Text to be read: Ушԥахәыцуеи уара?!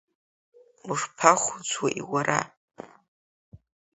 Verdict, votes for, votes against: accepted, 3, 0